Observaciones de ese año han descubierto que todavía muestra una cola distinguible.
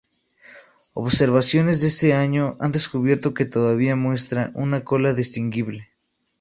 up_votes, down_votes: 2, 0